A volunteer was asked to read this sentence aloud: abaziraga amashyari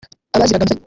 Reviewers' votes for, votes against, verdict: 0, 2, rejected